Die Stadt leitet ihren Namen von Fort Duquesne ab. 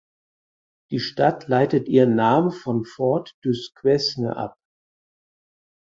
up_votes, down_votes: 4, 0